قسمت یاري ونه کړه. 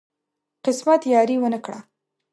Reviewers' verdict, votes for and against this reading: accepted, 2, 0